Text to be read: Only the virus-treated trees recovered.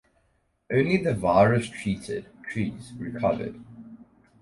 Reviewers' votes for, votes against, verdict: 2, 2, rejected